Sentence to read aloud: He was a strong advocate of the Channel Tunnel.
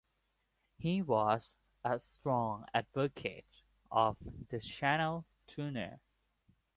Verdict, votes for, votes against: accepted, 3, 0